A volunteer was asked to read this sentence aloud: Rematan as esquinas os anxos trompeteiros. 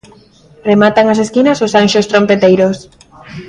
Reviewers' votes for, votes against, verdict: 2, 0, accepted